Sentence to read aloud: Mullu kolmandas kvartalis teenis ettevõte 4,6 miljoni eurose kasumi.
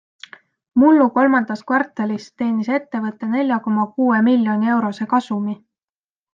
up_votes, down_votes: 0, 2